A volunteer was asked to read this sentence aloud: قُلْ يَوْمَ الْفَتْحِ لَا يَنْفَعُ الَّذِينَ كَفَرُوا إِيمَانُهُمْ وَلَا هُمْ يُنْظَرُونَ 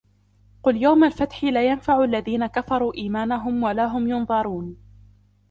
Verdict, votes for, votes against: accepted, 2, 0